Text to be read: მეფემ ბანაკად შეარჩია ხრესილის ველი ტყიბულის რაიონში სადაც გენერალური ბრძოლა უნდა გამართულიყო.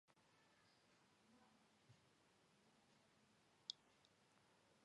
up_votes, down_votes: 0, 2